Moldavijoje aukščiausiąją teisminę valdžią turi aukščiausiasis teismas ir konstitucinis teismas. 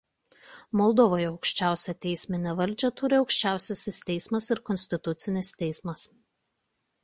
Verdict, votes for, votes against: rejected, 1, 2